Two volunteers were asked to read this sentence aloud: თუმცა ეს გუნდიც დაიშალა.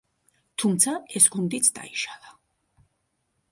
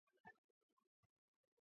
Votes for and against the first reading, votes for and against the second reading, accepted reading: 2, 0, 0, 2, first